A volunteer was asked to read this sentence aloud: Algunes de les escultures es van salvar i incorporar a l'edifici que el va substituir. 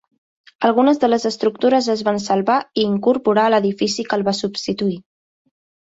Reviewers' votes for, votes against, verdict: 2, 3, rejected